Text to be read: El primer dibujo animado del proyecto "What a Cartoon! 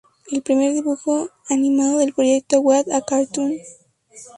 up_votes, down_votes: 2, 0